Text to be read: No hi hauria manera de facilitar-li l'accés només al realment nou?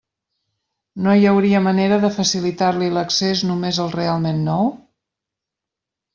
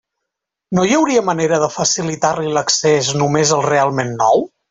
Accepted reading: second